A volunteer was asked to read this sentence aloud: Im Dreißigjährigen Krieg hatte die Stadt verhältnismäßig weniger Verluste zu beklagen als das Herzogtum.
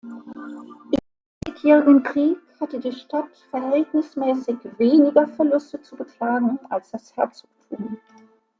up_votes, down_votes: 0, 2